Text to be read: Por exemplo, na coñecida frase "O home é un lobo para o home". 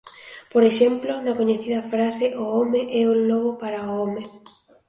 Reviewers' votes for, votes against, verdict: 2, 0, accepted